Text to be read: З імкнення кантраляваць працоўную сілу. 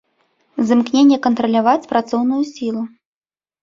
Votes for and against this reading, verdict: 2, 0, accepted